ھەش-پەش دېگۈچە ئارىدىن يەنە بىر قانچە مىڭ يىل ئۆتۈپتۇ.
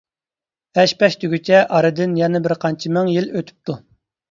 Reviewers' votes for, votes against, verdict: 2, 0, accepted